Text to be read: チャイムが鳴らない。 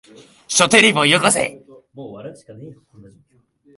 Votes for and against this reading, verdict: 1, 4, rejected